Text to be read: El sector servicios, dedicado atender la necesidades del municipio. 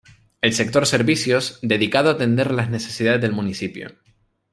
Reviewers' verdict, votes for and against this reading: accepted, 2, 0